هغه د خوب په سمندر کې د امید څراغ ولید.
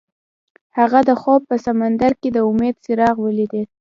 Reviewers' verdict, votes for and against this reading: accepted, 2, 0